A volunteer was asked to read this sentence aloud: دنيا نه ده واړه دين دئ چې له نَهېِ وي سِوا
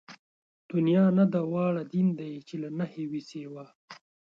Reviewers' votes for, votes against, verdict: 2, 0, accepted